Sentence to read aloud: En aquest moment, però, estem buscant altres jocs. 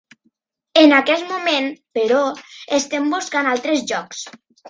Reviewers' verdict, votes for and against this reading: accepted, 2, 0